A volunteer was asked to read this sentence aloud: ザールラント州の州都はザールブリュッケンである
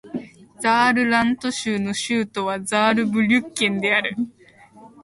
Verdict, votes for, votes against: accepted, 2, 1